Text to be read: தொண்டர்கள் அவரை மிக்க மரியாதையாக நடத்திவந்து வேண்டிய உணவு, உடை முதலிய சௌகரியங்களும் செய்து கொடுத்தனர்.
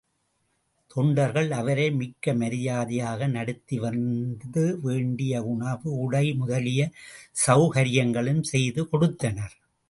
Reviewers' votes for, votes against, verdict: 2, 0, accepted